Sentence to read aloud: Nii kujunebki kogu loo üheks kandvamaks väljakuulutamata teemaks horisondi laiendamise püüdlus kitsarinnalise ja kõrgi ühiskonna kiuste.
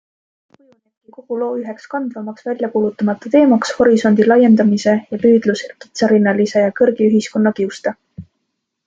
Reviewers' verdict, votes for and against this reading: rejected, 1, 2